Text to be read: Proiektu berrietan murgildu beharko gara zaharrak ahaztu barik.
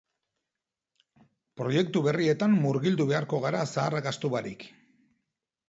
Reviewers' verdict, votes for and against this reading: accepted, 2, 0